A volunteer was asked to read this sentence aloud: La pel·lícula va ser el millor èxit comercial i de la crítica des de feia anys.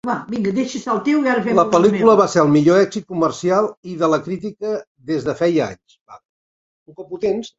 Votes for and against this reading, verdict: 0, 2, rejected